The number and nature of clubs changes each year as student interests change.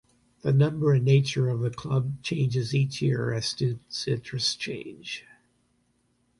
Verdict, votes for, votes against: accepted, 2, 0